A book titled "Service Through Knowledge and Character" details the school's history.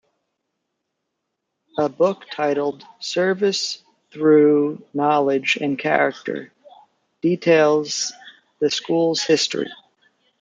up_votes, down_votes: 2, 0